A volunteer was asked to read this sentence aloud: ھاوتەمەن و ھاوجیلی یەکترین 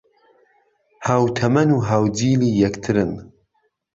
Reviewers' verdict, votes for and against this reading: rejected, 1, 2